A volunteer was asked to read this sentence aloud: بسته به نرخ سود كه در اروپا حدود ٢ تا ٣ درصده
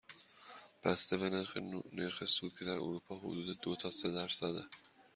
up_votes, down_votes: 0, 2